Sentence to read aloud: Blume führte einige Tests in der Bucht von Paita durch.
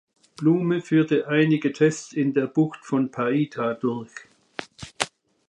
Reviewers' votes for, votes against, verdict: 2, 0, accepted